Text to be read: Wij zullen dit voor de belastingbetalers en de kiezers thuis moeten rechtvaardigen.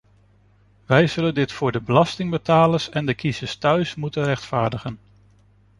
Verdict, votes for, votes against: accepted, 2, 0